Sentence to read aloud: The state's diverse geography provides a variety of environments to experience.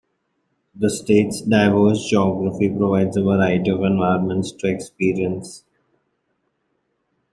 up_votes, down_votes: 2, 0